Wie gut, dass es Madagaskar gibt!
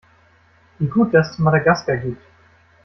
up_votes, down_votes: 2, 0